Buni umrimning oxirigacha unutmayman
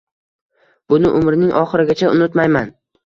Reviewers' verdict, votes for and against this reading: accepted, 2, 0